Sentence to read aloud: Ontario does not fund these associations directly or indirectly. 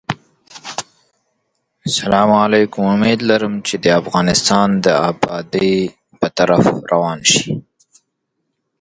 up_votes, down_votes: 0, 2